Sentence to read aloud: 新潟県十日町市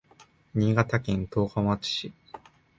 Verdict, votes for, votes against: accepted, 2, 0